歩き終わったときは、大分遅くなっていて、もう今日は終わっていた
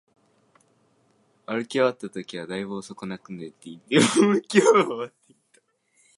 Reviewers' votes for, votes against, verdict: 0, 2, rejected